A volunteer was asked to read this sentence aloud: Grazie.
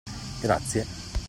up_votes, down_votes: 2, 1